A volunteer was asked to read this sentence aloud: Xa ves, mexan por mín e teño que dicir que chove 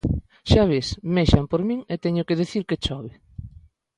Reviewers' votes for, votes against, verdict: 2, 0, accepted